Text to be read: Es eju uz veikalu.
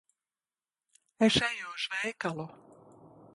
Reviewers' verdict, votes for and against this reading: rejected, 0, 2